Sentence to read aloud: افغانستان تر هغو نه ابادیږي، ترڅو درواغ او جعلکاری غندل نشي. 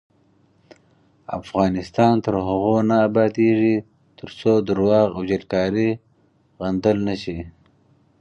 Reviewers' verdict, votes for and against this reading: accepted, 4, 0